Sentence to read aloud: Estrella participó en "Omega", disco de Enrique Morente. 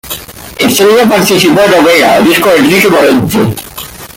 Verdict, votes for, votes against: rejected, 1, 2